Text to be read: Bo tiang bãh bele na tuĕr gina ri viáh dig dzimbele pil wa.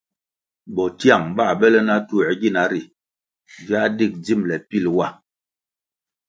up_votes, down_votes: 2, 0